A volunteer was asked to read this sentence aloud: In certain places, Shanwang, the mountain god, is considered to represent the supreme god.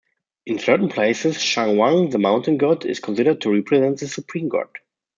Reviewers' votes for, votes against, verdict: 2, 0, accepted